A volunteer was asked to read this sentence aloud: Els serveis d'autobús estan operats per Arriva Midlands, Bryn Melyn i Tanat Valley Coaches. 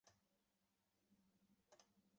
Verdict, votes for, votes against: rejected, 0, 2